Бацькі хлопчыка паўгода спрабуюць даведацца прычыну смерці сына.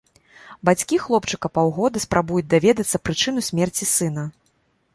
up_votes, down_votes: 2, 0